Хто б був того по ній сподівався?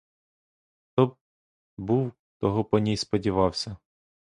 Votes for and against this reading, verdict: 1, 2, rejected